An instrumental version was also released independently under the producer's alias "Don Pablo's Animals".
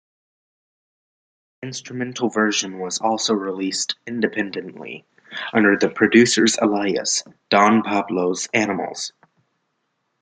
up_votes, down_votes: 0, 2